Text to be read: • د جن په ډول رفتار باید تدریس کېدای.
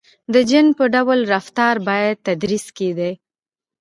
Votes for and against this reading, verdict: 2, 0, accepted